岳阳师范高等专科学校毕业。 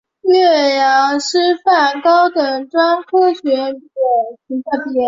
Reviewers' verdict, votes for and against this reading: rejected, 1, 3